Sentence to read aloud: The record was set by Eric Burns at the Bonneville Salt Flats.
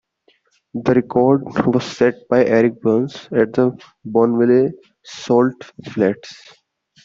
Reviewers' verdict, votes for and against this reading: rejected, 0, 2